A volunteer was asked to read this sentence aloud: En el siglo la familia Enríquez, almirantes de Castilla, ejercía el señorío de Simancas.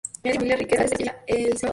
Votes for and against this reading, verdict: 2, 4, rejected